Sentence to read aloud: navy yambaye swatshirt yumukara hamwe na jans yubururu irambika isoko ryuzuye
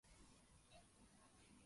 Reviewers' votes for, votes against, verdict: 0, 2, rejected